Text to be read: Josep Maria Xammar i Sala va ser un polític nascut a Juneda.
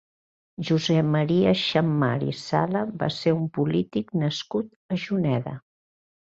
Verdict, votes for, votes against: accepted, 2, 0